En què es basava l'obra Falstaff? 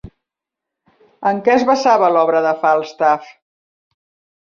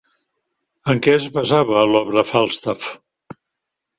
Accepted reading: second